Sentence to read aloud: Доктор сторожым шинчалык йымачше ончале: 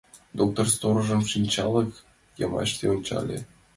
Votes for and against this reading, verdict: 2, 1, accepted